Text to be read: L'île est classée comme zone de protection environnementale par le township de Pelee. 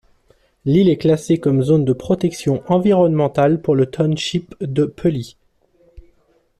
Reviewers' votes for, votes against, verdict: 0, 2, rejected